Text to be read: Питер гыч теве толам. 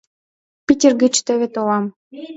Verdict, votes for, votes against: accepted, 2, 0